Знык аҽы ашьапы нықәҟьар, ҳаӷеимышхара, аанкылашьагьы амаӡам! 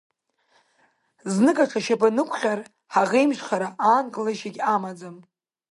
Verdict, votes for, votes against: rejected, 0, 2